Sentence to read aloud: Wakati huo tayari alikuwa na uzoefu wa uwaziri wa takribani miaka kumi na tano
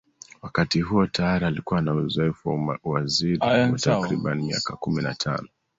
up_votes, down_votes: 0, 2